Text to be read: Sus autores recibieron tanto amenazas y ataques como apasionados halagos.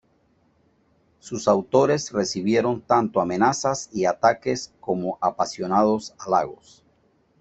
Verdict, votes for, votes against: rejected, 0, 2